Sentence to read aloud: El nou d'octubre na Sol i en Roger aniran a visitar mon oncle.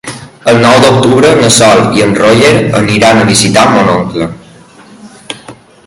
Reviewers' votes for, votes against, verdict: 2, 1, accepted